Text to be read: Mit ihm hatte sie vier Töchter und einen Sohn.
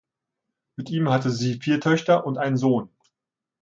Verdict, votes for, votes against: accepted, 2, 1